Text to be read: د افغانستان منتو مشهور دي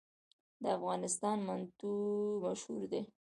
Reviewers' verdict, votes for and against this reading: accepted, 2, 0